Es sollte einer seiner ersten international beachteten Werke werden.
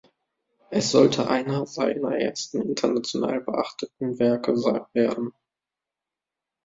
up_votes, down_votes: 0, 2